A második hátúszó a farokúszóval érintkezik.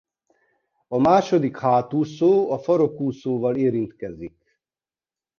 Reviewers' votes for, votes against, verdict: 2, 0, accepted